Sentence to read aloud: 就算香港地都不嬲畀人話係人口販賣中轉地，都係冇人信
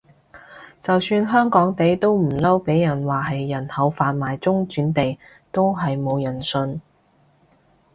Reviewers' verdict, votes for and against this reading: rejected, 0, 2